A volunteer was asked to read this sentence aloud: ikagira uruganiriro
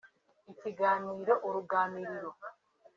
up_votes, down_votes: 1, 2